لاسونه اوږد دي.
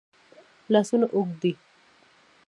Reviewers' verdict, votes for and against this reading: rejected, 1, 2